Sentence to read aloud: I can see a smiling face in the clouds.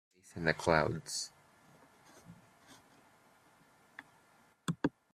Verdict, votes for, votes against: rejected, 0, 2